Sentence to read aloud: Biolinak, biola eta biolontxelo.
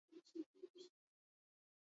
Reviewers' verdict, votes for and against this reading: rejected, 0, 2